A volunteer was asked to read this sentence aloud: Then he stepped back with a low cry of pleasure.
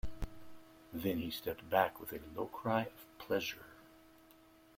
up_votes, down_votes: 2, 1